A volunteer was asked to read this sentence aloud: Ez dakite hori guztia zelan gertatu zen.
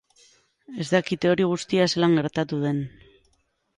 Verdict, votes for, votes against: rejected, 0, 3